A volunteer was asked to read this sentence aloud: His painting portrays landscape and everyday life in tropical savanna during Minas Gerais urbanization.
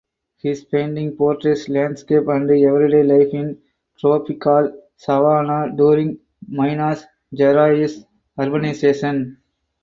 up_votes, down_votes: 4, 0